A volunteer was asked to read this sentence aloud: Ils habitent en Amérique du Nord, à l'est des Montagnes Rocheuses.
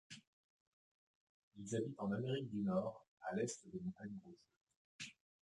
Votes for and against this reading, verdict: 1, 2, rejected